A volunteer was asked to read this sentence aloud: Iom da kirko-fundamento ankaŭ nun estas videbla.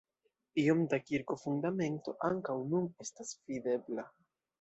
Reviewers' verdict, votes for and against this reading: accepted, 2, 0